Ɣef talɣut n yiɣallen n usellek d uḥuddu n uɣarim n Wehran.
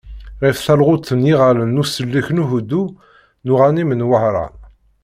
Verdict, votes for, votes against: accepted, 2, 0